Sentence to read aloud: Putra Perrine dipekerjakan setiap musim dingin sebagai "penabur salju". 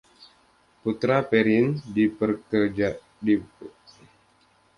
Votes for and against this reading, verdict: 0, 2, rejected